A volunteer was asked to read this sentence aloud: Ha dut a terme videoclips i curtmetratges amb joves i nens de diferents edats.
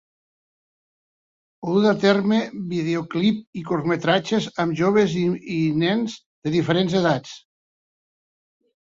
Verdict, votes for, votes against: rejected, 1, 3